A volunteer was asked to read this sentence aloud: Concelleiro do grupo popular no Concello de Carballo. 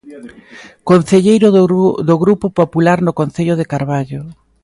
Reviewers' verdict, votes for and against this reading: rejected, 0, 2